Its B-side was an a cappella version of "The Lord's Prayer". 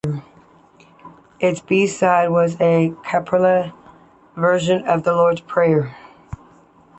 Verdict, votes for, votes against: rejected, 0, 2